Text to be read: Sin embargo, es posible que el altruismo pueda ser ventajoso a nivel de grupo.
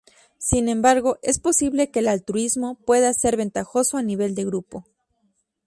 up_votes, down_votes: 4, 0